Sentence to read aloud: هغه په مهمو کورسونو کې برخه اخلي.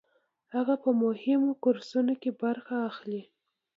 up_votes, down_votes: 2, 0